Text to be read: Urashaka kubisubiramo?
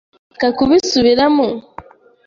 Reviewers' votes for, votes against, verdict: 1, 2, rejected